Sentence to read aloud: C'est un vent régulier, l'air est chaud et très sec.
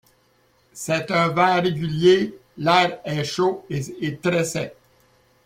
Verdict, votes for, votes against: accepted, 2, 1